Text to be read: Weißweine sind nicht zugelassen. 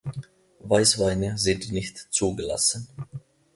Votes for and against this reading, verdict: 2, 0, accepted